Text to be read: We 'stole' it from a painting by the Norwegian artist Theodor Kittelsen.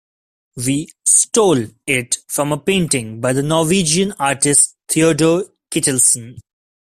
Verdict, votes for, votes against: accepted, 2, 1